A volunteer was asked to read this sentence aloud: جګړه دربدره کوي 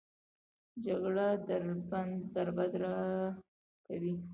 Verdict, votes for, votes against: rejected, 0, 2